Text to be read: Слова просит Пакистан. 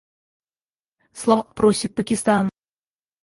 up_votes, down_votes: 0, 4